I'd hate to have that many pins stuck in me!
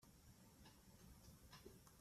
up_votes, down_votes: 0, 3